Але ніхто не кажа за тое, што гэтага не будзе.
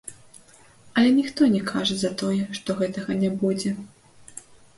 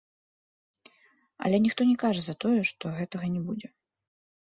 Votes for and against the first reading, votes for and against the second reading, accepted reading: 2, 0, 1, 2, first